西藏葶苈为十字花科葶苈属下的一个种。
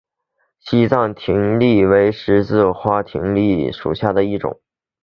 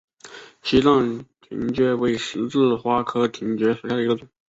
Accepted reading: first